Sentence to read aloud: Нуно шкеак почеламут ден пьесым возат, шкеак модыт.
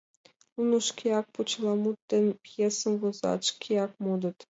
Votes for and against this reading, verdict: 2, 0, accepted